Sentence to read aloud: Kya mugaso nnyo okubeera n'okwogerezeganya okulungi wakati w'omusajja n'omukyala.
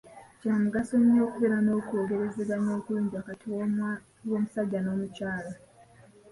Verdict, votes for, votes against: accepted, 3, 0